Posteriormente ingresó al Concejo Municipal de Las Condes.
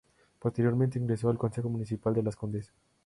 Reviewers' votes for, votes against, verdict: 0, 2, rejected